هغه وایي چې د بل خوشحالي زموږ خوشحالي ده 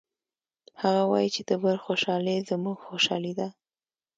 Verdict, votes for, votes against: accepted, 2, 0